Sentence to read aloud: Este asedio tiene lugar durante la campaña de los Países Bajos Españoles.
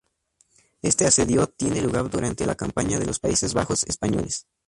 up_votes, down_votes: 2, 0